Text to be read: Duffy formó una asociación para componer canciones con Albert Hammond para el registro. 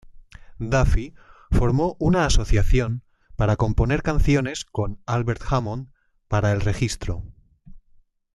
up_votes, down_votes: 2, 0